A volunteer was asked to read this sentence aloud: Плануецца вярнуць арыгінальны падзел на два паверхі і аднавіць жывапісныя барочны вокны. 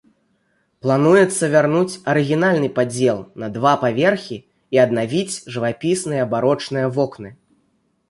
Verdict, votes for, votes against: accepted, 2, 0